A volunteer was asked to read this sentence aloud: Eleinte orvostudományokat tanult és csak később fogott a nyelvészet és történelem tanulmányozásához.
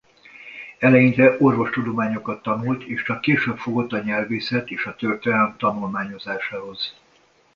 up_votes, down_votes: 0, 2